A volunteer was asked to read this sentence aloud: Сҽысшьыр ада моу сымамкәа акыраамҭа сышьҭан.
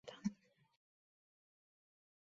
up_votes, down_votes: 0, 3